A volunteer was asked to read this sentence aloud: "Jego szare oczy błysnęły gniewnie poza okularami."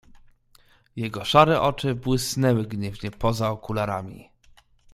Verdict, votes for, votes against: accepted, 2, 0